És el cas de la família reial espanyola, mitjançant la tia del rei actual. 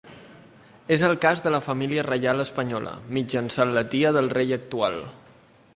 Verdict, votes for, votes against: accepted, 3, 0